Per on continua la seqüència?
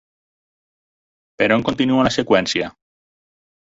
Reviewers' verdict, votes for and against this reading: rejected, 2, 4